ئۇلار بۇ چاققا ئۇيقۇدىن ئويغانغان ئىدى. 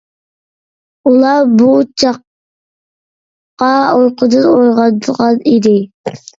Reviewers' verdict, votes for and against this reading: rejected, 1, 2